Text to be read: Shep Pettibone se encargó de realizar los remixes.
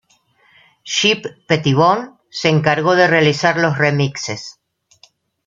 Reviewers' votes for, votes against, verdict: 2, 0, accepted